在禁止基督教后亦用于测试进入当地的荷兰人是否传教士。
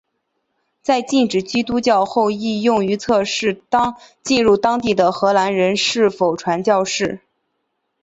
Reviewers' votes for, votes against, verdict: 3, 0, accepted